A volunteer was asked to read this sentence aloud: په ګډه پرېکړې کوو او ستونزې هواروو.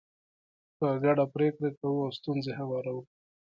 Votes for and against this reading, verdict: 2, 1, accepted